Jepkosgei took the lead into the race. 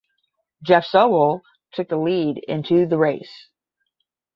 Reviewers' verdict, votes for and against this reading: rejected, 5, 5